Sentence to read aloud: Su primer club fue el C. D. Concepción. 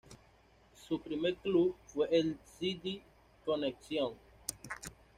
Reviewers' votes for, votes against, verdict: 1, 2, rejected